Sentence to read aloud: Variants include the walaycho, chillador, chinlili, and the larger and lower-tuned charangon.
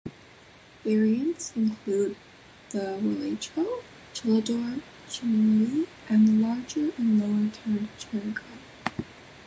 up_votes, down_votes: 2, 0